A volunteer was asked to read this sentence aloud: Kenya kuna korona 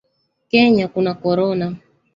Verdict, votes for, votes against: rejected, 1, 2